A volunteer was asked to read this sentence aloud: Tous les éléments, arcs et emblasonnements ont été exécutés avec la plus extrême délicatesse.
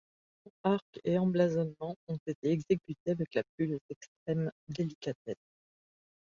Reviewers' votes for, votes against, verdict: 0, 2, rejected